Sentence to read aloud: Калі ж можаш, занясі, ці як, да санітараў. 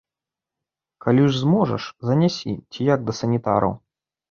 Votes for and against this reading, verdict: 1, 2, rejected